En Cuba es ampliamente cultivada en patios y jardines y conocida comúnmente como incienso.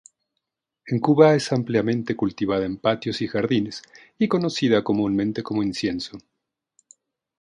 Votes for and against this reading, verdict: 2, 0, accepted